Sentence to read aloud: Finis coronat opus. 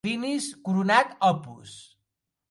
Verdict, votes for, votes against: accepted, 2, 0